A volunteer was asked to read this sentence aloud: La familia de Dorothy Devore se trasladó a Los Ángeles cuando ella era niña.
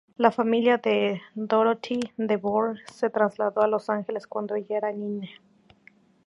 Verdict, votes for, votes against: rejected, 0, 2